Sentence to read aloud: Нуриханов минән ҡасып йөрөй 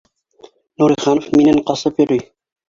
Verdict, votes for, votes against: rejected, 2, 3